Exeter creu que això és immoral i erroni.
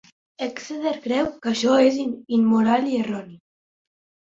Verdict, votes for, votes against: rejected, 1, 2